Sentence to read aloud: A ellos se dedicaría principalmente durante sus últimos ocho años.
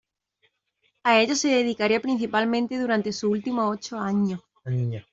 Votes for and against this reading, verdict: 0, 2, rejected